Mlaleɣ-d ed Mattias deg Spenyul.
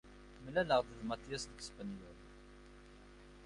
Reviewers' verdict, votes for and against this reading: accepted, 2, 0